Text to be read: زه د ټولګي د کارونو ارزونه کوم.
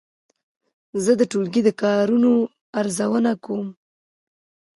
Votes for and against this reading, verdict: 0, 2, rejected